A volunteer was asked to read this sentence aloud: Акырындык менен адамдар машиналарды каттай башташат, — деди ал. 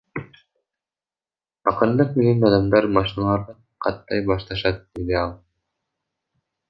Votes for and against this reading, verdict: 0, 2, rejected